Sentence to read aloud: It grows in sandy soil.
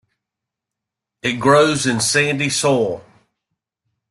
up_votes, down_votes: 1, 2